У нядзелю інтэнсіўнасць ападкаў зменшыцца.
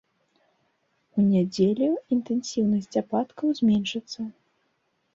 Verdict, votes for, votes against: accepted, 2, 0